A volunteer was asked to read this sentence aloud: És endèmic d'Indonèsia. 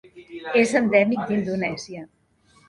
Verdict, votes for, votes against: rejected, 1, 2